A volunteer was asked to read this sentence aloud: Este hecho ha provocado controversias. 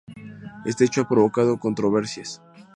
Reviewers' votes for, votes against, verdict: 2, 0, accepted